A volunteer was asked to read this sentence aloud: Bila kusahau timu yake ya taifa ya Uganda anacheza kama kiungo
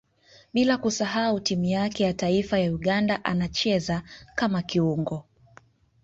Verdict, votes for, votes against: rejected, 0, 2